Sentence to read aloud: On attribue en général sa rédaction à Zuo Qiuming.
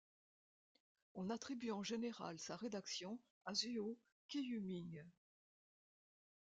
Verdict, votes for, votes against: accepted, 2, 0